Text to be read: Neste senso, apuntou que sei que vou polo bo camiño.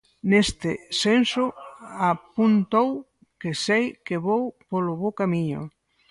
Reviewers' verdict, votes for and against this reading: rejected, 2, 4